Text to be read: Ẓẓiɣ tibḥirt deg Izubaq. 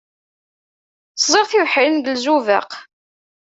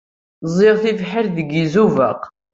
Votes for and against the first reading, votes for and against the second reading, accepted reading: 1, 2, 2, 0, second